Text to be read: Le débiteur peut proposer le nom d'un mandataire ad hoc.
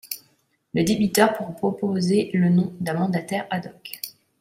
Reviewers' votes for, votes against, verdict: 0, 2, rejected